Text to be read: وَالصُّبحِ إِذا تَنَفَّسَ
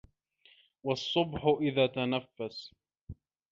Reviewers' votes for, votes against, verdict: 2, 0, accepted